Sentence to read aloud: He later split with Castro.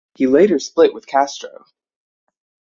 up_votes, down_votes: 3, 0